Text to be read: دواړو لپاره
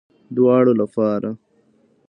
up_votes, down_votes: 0, 2